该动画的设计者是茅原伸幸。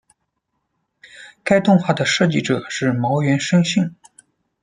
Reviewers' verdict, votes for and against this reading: accepted, 2, 0